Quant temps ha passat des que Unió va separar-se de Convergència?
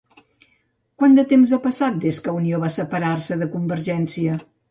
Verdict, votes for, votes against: rejected, 0, 2